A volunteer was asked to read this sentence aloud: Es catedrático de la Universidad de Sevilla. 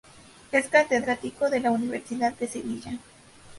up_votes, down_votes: 2, 0